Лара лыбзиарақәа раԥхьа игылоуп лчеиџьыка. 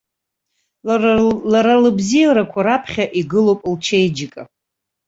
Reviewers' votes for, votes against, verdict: 0, 2, rejected